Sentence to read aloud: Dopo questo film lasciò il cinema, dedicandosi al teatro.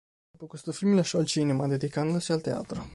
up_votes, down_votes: 0, 2